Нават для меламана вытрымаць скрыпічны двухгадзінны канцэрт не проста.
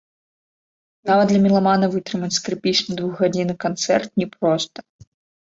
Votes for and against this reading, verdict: 2, 0, accepted